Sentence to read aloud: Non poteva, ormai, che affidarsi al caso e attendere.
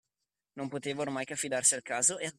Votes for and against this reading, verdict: 0, 2, rejected